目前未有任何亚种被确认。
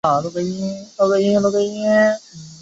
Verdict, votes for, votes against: rejected, 1, 4